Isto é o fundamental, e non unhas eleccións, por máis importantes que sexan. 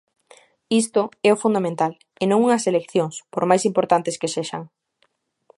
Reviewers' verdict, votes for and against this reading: accepted, 2, 0